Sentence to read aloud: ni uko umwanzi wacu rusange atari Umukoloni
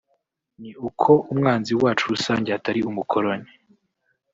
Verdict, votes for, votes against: rejected, 1, 2